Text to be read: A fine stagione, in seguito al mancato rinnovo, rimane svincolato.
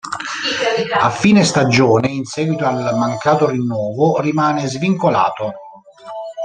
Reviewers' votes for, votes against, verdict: 1, 2, rejected